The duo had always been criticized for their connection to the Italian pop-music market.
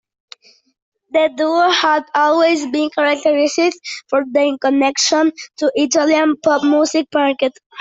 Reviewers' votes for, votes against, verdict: 0, 2, rejected